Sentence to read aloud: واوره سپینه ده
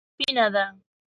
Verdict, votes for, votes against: rejected, 1, 2